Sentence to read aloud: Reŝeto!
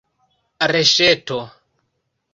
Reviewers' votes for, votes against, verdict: 1, 2, rejected